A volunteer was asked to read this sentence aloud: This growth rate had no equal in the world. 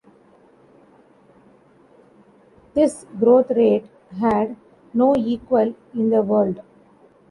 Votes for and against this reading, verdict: 2, 0, accepted